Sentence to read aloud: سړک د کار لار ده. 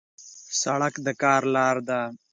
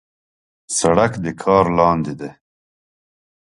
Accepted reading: first